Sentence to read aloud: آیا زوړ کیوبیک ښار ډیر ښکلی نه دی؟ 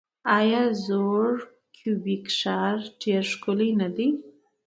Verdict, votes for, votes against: accepted, 2, 0